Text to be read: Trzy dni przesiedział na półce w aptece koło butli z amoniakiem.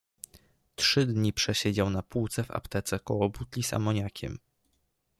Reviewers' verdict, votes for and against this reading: accepted, 2, 0